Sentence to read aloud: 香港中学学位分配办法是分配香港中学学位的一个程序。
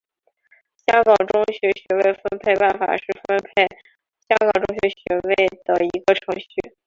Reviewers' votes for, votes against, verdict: 2, 1, accepted